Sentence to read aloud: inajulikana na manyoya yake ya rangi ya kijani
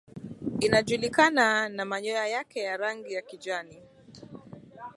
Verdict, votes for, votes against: accepted, 2, 0